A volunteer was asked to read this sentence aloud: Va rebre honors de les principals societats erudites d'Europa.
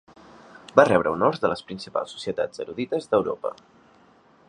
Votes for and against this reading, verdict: 3, 0, accepted